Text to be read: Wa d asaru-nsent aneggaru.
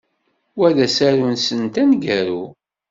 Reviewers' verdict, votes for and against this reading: accepted, 2, 0